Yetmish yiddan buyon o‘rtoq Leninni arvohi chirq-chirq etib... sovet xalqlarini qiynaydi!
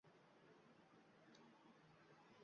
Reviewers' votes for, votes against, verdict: 1, 2, rejected